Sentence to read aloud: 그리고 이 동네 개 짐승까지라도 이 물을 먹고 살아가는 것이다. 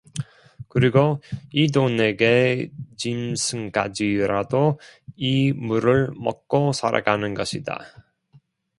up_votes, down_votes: 1, 2